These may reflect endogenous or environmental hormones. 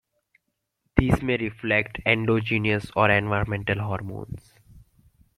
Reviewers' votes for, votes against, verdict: 2, 1, accepted